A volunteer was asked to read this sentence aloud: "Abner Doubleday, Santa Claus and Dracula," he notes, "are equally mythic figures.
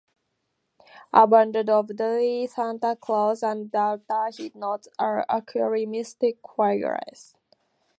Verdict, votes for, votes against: rejected, 0, 2